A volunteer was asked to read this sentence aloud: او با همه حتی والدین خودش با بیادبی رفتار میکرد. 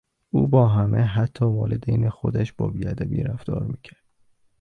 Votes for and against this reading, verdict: 2, 0, accepted